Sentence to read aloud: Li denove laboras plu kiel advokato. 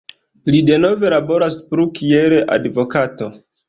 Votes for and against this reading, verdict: 2, 0, accepted